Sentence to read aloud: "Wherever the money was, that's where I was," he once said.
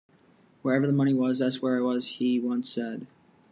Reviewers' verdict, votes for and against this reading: accepted, 2, 0